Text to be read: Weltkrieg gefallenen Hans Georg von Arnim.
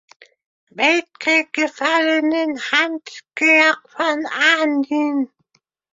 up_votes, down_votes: 1, 2